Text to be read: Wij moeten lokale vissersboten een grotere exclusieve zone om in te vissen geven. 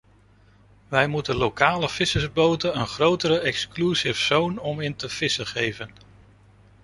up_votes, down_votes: 0, 2